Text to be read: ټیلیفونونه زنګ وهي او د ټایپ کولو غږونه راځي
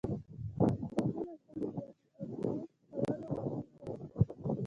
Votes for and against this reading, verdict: 1, 2, rejected